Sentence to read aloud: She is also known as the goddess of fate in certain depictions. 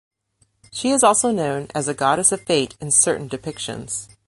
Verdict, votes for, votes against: accepted, 3, 0